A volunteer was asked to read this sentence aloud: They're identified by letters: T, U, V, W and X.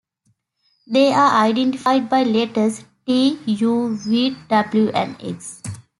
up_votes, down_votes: 2, 1